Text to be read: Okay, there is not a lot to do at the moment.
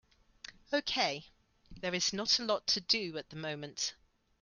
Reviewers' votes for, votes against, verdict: 2, 0, accepted